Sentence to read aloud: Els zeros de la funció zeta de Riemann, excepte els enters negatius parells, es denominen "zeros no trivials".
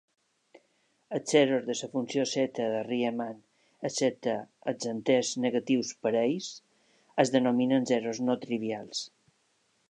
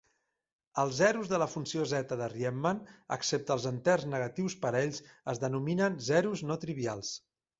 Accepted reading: second